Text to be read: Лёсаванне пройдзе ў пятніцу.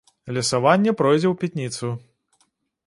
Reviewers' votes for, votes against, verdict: 0, 2, rejected